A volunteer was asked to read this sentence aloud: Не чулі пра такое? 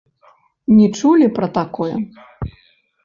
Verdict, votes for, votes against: rejected, 1, 2